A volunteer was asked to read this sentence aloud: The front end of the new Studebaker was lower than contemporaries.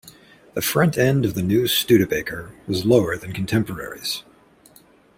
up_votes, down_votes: 2, 1